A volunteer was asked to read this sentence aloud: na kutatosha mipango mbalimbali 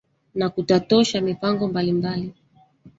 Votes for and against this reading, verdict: 2, 1, accepted